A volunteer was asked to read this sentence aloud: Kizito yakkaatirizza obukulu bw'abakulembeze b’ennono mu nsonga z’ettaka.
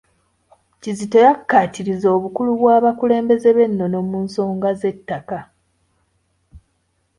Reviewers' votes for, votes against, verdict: 3, 1, accepted